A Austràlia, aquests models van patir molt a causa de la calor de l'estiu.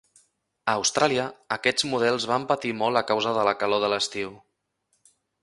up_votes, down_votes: 3, 0